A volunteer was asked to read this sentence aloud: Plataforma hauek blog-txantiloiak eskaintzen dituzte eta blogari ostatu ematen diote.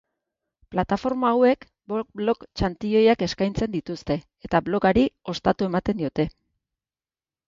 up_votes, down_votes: 2, 2